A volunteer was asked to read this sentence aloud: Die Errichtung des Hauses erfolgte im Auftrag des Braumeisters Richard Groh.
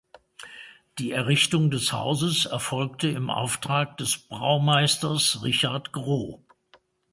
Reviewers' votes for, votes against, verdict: 2, 0, accepted